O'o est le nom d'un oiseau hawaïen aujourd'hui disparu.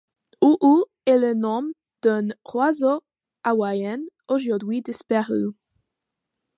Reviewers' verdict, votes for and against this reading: accepted, 2, 0